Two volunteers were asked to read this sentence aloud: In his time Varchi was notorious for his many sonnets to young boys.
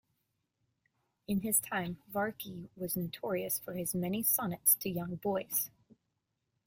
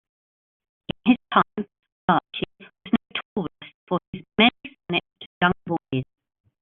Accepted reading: first